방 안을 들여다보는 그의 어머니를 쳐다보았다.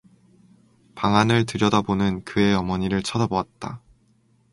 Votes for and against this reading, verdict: 2, 0, accepted